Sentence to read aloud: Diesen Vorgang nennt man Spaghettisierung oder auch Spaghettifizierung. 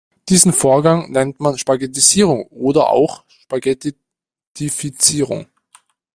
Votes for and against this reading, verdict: 2, 0, accepted